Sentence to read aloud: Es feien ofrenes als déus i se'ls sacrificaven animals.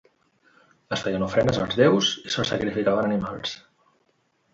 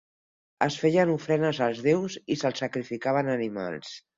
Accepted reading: second